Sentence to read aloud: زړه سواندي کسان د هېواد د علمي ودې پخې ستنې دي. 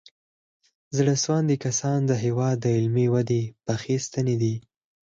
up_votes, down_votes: 4, 2